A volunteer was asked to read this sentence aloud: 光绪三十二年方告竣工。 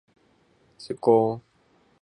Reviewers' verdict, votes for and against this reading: rejected, 1, 2